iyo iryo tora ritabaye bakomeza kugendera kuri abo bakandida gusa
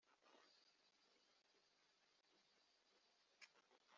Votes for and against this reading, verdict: 0, 2, rejected